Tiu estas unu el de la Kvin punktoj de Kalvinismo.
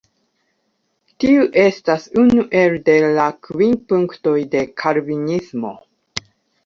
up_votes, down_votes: 1, 2